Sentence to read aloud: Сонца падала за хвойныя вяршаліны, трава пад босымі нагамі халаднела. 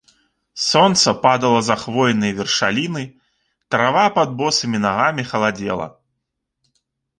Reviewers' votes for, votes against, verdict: 0, 2, rejected